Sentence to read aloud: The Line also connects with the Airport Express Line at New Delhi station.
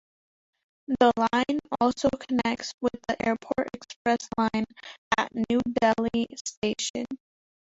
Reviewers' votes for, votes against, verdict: 2, 1, accepted